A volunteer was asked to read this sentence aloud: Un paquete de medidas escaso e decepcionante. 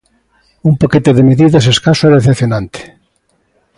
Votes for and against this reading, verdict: 2, 0, accepted